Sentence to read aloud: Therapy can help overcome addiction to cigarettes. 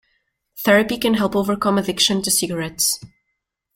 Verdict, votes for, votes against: accepted, 2, 0